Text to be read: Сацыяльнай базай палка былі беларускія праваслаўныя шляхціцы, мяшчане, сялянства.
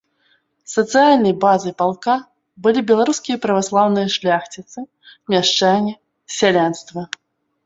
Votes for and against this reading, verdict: 3, 0, accepted